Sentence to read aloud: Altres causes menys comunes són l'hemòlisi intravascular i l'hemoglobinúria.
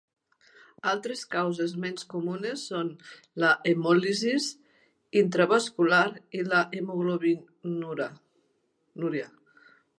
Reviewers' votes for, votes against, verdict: 0, 2, rejected